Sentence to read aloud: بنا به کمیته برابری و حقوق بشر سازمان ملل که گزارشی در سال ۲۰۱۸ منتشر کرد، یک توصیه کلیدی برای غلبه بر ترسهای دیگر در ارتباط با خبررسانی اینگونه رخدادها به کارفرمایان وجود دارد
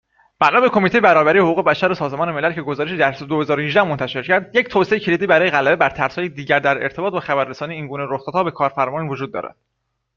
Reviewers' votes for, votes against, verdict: 0, 2, rejected